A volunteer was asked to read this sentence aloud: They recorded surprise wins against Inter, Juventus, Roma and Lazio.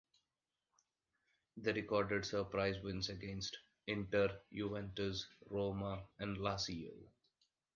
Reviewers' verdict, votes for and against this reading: accepted, 2, 0